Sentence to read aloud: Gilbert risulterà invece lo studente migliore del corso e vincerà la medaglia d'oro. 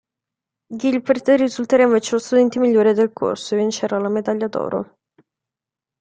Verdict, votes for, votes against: accepted, 2, 1